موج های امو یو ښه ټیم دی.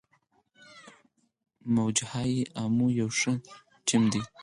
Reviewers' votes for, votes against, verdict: 4, 2, accepted